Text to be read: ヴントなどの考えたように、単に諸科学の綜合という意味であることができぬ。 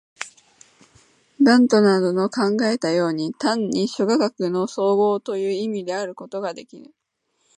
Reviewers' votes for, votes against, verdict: 3, 1, accepted